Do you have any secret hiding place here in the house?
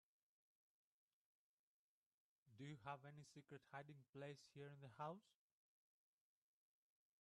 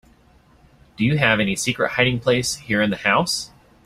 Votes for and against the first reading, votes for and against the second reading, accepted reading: 0, 2, 2, 1, second